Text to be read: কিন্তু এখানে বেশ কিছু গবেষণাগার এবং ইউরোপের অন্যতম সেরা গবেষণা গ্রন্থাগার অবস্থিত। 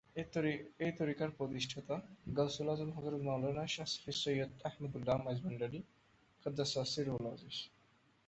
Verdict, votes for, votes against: rejected, 0, 2